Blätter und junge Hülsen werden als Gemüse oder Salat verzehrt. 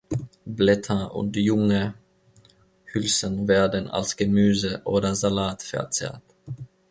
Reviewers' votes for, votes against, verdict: 2, 0, accepted